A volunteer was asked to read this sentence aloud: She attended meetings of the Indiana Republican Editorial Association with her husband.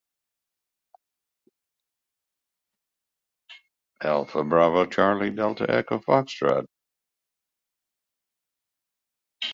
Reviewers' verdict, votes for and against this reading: rejected, 0, 2